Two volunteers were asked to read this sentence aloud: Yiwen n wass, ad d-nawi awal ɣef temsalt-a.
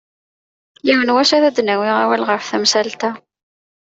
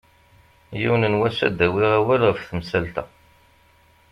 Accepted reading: first